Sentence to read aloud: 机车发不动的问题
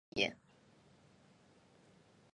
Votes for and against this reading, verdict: 1, 2, rejected